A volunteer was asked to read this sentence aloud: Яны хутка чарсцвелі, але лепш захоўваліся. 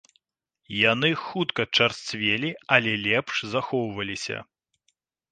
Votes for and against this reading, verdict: 2, 0, accepted